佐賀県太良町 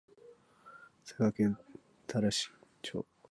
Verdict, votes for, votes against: rejected, 0, 2